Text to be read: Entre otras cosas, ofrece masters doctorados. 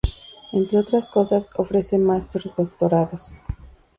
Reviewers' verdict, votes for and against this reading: accepted, 2, 0